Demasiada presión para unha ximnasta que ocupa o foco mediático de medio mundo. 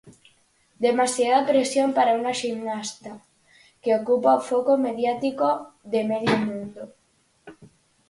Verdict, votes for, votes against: accepted, 4, 0